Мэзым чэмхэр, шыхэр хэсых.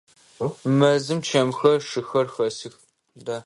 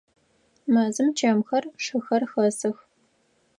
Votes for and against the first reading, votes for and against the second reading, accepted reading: 0, 2, 4, 0, second